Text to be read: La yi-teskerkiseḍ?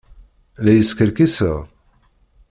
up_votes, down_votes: 1, 2